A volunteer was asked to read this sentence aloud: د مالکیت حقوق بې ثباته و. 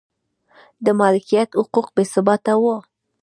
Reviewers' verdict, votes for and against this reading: rejected, 0, 2